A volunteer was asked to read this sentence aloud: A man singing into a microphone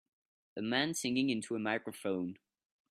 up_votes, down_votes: 2, 0